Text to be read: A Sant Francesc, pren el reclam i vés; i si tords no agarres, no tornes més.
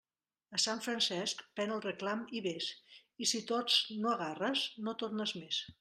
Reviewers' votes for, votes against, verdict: 0, 2, rejected